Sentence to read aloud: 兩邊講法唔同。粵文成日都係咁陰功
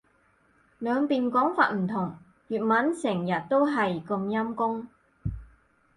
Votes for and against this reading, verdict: 2, 4, rejected